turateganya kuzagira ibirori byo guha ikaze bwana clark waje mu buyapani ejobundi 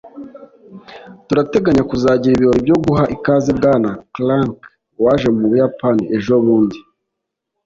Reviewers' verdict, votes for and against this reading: accepted, 3, 0